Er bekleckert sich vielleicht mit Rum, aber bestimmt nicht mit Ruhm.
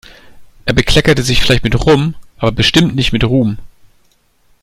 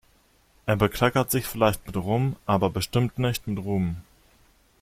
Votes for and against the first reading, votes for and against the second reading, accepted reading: 0, 2, 2, 1, second